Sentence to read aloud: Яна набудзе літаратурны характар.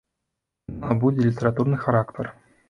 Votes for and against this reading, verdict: 0, 2, rejected